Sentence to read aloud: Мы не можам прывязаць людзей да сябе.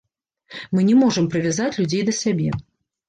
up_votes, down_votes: 2, 0